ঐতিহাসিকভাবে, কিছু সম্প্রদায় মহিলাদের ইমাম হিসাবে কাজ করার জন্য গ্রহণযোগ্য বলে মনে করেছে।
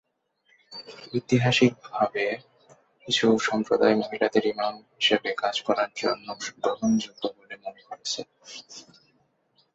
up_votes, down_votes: 2, 4